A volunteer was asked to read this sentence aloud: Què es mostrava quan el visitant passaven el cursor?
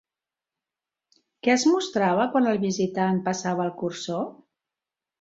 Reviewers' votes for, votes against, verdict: 0, 2, rejected